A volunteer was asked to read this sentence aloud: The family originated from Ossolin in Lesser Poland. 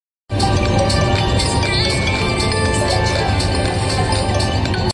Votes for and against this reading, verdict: 0, 2, rejected